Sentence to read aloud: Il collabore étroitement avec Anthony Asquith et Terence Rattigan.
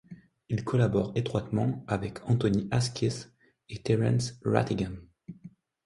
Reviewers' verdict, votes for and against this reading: accepted, 2, 0